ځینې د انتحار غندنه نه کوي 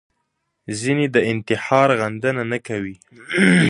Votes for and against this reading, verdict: 1, 2, rejected